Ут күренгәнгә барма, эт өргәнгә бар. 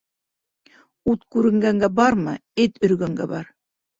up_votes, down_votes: 3, 0